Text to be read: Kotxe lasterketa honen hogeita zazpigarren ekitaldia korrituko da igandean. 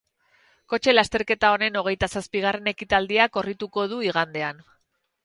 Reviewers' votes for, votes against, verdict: 0, 2, rejected